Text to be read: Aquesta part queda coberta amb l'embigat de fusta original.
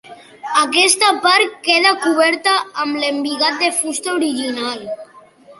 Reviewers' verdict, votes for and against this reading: accepted, 2, 0